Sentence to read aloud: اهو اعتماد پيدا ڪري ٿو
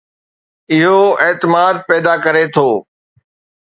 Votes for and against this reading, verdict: 2, 0, accepted